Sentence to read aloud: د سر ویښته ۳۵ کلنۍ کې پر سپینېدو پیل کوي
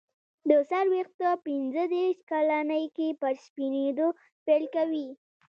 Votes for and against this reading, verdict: 0, 2, rejected